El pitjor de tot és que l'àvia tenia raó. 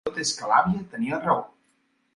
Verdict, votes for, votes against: rejected, 0, 2